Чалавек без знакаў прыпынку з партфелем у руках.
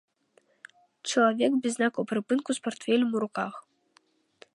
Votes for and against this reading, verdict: 1, 2, rejected